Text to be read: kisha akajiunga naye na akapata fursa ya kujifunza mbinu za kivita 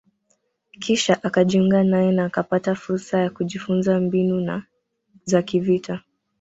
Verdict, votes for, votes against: rejected, 0, 3